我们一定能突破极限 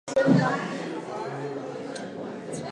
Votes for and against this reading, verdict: 0, 2, rejected